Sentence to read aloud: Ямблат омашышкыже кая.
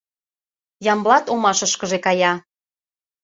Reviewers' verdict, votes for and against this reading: accepted, 2, 0